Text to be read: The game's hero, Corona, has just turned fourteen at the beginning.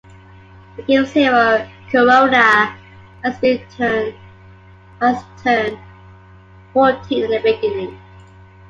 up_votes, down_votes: 1, 3